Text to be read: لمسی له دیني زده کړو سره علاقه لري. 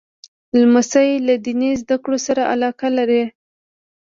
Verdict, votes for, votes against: accepted, 2, 0